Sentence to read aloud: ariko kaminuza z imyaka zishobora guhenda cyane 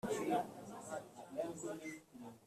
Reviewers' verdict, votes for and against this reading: rejected, 0, 2